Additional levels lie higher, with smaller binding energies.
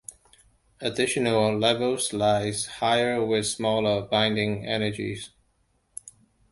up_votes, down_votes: 0, 2